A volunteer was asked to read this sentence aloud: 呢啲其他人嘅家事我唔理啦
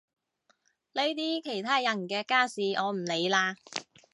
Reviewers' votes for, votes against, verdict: 2, 0, accepted